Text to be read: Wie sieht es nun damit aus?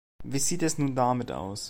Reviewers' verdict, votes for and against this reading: accepted, 2, 0